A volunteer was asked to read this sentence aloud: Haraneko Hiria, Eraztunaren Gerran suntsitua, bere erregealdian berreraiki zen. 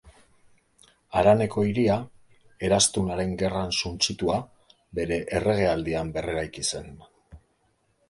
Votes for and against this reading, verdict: 3, 2, accepted